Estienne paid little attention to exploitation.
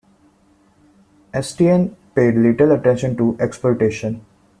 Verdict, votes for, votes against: accepted, 2, 0